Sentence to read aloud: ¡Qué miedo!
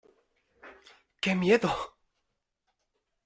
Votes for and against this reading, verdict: 2, 0, accepted